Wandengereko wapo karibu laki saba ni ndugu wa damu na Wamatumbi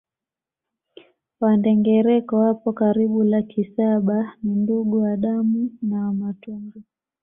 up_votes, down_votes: 2, 0